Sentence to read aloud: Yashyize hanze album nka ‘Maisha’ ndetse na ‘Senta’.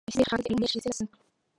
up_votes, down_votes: 0, 2